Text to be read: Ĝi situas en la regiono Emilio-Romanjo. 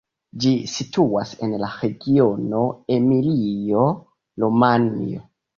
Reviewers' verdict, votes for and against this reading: rejected, 0, 2